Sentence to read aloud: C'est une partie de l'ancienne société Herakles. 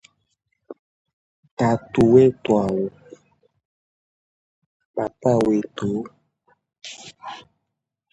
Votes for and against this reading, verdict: 0, 2, rejected